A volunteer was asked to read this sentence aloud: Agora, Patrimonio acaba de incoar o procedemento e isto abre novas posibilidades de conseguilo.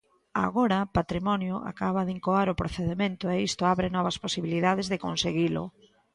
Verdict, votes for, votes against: accepted, 2, 0